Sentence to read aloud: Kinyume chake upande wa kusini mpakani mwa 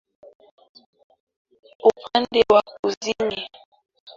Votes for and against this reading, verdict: 0, 2, rejected